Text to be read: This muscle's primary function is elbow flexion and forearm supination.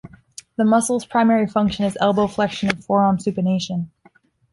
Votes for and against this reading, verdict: 1, 2, rejected